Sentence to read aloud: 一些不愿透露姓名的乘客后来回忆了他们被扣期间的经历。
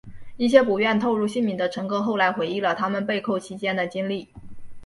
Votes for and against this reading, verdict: 0, 2, rejected